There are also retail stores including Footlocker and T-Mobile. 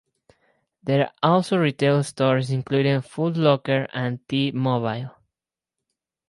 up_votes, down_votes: 4, 0